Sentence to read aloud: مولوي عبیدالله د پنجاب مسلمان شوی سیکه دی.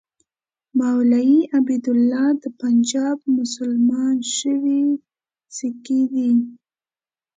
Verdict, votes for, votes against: accepted, 2, 1